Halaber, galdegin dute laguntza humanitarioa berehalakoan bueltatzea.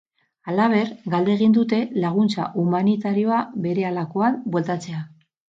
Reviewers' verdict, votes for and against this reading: accepted, 4, 0